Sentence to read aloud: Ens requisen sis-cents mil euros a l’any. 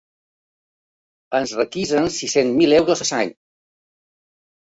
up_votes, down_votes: 0, 2